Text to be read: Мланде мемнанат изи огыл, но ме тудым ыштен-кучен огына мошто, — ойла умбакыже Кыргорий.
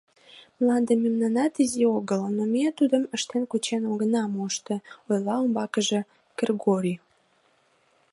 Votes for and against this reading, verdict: 1, 2, rejected